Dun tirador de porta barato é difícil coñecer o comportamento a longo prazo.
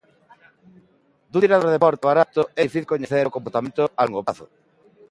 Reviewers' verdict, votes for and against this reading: rejected, 0, 3